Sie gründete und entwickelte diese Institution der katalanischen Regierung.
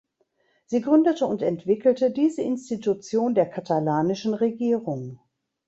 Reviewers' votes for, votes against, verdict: 2, 0, accepted